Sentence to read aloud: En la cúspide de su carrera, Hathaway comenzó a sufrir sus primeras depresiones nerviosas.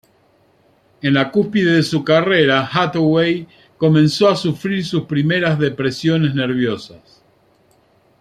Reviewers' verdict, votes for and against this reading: accepted, 2, 0